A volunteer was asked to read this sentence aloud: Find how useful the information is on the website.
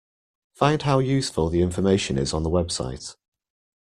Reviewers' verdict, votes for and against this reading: accepted, 2, 0